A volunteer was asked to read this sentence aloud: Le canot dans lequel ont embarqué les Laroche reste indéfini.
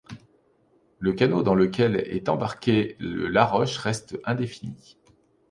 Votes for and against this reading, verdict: 1, 2, rejected